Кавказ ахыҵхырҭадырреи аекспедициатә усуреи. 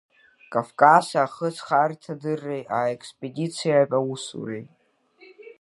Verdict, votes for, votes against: accepted, 2, 1